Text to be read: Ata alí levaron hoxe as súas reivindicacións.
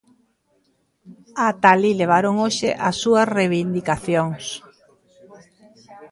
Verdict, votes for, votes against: accepted, 2, 0